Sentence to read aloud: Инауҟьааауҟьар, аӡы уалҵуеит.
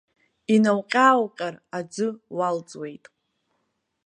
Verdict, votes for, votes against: accepted, 2, 0